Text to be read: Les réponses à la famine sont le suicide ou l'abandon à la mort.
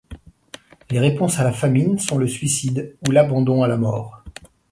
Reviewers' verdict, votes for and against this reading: accepted, 2, 0